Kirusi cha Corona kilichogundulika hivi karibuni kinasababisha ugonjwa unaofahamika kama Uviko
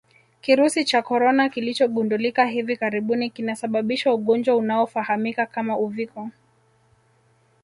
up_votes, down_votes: 0, 2